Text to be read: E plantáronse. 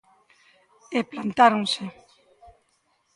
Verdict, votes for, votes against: rejected, 1, 2